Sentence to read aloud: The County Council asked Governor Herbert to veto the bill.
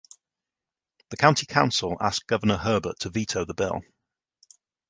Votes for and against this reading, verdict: 3, 0, accepted